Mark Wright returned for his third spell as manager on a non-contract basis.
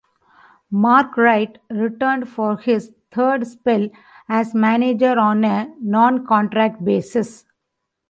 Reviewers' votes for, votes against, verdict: 2, 0, accepted